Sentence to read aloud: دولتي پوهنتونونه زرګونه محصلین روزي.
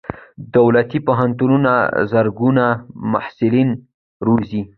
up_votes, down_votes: 2, 0